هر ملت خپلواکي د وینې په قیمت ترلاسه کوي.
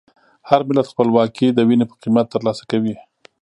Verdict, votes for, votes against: accepted, 4, 0